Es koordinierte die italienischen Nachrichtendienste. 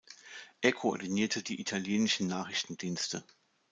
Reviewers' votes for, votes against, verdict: 0, 2, rejected